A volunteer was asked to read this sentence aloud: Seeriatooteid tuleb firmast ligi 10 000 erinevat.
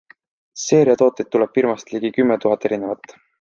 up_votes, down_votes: 0, 2